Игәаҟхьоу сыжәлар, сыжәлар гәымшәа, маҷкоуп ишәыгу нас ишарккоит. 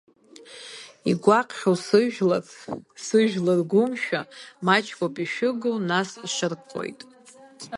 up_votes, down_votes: 0, 2